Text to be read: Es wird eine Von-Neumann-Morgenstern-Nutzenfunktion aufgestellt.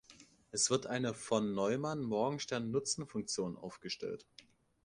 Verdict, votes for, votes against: accepted, 2, 0